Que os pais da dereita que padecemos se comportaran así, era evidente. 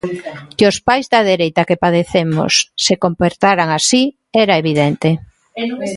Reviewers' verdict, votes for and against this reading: rejected, 1, 2